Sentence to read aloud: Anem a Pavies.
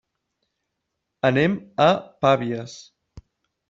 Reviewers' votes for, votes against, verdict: 1, 2, rejected